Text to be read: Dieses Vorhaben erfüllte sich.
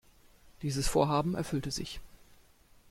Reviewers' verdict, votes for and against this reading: accepted, 2, 0